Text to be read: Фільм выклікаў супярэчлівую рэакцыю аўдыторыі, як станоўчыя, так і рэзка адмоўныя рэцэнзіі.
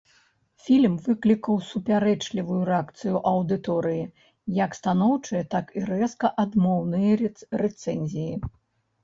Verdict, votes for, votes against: rejected, 1, 2